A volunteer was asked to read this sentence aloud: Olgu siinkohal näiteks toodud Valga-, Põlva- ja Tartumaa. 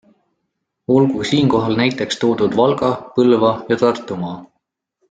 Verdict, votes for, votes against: accepted, 2, 0